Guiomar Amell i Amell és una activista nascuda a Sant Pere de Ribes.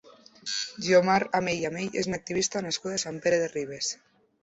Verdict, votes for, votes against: accepted, 2, 0